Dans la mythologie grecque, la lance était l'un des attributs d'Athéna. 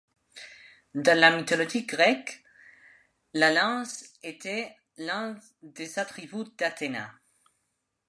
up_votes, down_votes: 1, 2